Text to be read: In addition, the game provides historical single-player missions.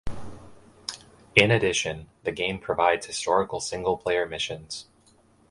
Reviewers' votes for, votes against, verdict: 3, 0, accepted